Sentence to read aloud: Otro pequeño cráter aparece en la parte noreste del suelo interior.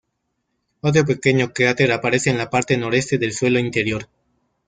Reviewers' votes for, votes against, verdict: 2, 0, accepted